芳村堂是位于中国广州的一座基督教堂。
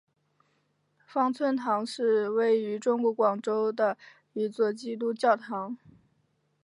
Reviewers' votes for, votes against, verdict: 7, 3, accepted